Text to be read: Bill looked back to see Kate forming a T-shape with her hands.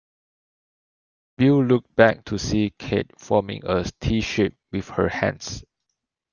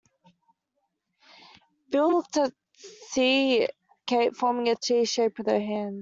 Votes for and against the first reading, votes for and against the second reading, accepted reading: 2, 0, 0, 2, first